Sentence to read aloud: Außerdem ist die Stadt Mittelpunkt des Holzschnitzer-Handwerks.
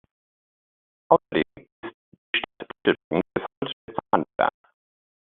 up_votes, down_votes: 0, 2